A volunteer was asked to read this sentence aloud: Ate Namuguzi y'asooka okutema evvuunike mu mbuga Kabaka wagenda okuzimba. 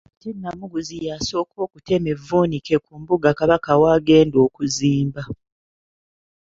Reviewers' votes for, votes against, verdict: 2, 1, accepted